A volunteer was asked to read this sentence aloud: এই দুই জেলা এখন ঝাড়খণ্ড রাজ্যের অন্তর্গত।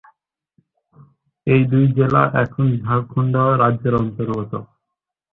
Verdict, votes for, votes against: rejected, 1, 3